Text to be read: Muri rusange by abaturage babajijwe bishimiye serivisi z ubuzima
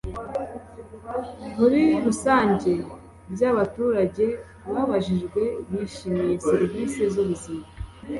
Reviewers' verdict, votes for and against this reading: accepted, 2, 0